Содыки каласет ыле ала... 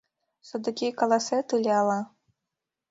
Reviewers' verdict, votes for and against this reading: accepted, 2, 0